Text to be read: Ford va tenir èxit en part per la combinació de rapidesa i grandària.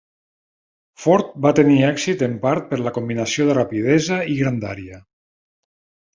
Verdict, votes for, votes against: accepted, 3, 0